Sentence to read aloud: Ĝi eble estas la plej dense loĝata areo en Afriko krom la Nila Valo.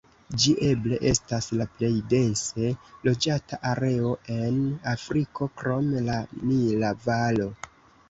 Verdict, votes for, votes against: rejected, 0, 2